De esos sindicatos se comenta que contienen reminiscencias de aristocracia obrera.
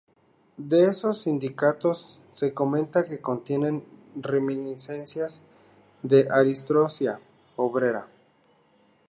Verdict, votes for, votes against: rejected, 0, 2